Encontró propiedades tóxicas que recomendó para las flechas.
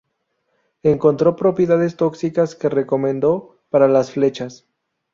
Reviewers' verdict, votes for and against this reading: accepted, 2, 0